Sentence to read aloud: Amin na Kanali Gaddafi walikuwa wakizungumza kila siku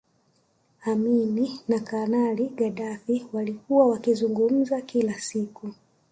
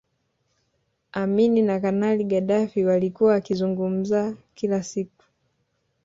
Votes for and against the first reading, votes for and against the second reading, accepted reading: 2, 3, 2, 0, second